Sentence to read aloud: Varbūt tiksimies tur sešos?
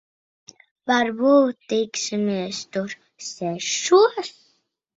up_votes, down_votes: 2, 0